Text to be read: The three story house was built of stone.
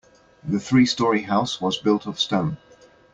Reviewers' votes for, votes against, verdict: 2, 0, accepted